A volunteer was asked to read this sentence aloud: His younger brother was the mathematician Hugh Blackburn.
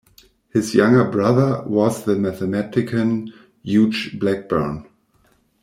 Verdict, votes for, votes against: rejected, 0, 2